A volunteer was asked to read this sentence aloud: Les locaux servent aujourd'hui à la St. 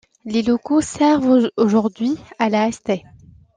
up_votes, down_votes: 2, 1